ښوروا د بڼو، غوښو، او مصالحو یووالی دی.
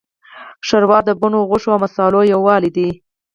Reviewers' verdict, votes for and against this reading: accepted, 4, 0